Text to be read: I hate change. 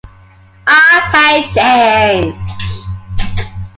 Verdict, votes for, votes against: accepted, 2, 0